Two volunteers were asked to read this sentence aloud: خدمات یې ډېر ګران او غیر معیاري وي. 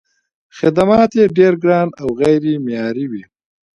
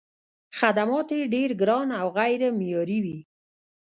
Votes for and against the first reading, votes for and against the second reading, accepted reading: 3, 1, 1, 2, first